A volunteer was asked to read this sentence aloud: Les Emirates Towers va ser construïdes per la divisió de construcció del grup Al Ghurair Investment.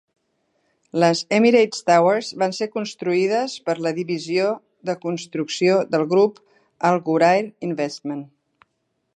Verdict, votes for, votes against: accepted, 2, 0